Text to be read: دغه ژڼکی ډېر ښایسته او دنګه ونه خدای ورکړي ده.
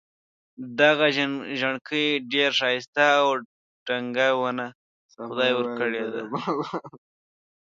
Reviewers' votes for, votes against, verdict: 1, 2, rejected